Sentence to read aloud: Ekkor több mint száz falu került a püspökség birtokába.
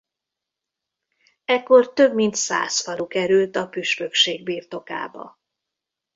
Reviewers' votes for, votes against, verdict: 2, 0, accepted